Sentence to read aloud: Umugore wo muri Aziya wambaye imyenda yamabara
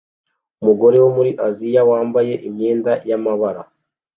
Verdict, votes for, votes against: accepted, 2, 1